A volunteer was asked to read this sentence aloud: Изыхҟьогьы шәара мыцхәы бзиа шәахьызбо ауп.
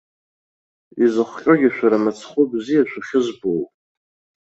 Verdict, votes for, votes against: accepted, 2, 0